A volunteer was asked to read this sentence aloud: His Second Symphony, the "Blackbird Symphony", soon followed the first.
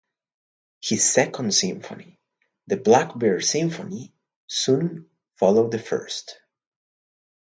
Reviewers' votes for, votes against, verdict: 2, 0, accepted